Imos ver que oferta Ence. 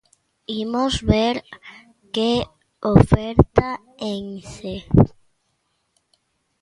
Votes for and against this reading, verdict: 2, 0, accepted